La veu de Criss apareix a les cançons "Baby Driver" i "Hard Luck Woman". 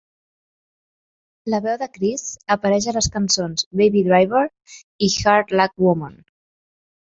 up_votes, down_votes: 2, 1